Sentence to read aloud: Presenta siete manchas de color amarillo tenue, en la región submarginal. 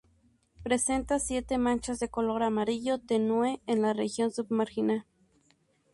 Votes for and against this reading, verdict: 6, 0, accepted